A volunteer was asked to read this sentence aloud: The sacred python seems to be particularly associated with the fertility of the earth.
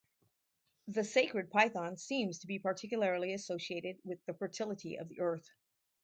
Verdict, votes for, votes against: rejected, 2, 2